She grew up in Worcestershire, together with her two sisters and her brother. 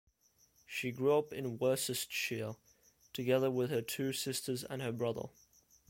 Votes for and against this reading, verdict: 1, 2, rejected